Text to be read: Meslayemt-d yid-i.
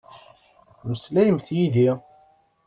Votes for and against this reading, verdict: 0, 2, rejected